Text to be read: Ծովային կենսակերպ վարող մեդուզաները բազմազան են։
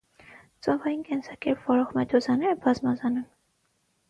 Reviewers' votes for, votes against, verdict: 6, 3, accepted